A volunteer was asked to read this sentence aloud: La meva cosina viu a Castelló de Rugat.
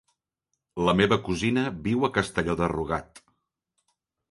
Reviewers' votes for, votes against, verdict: 2, 0, accepted